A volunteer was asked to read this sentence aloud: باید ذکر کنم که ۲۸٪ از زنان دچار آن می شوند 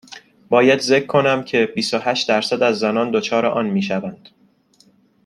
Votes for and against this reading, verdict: 0, 2, rejected